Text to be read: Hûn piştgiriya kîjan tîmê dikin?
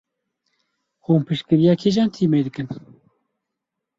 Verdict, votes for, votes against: accepted, 4, 0